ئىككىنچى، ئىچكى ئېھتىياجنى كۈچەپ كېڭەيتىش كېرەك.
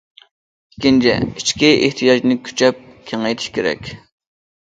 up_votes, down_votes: 2, 0